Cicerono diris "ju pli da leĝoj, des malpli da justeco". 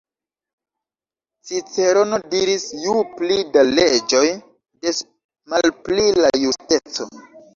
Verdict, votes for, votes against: accepted, 2, 1